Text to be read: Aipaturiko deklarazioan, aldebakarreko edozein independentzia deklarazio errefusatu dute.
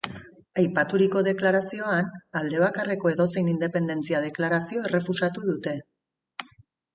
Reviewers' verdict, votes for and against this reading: accepted, 3, 0